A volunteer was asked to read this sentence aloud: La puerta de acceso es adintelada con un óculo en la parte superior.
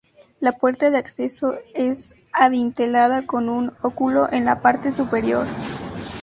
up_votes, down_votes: 2, 0